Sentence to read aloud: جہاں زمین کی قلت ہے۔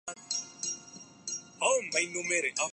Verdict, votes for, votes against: rejected, 0, 2